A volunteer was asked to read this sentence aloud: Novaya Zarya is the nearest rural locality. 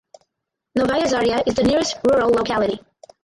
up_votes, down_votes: 2, 4